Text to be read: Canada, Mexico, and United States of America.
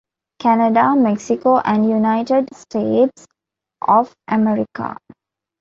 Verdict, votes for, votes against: accepted, 2, 0